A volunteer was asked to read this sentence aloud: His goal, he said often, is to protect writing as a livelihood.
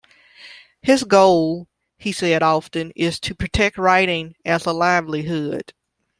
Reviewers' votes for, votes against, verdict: 2, 0, accepted